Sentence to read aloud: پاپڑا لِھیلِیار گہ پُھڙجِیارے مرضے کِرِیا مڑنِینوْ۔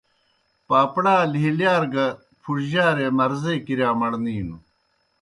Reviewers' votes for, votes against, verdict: 2, 0, accepted